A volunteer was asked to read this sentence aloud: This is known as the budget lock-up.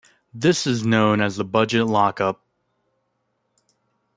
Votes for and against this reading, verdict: 1, 2, rejected